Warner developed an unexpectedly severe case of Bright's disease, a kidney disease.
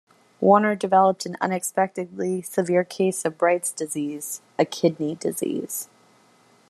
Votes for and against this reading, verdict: 2, 0, accepted